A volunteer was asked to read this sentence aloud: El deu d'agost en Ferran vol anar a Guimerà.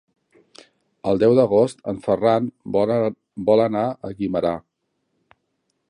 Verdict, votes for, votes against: rejected, 0, 2